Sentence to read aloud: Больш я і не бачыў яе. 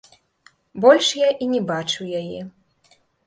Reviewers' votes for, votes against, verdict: 2, 0, accepted